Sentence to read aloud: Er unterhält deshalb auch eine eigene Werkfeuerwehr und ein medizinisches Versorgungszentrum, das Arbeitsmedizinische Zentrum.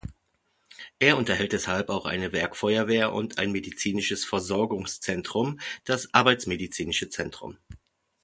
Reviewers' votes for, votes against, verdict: 0, 2, rejected